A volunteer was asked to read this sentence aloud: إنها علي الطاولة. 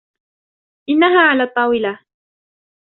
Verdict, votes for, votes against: accepted, 2, 1